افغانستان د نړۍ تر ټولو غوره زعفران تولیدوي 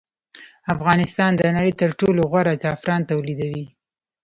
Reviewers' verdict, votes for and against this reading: accepted, 2, 0